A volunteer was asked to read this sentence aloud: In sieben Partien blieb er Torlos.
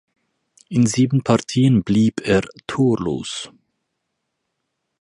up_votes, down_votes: 4, 0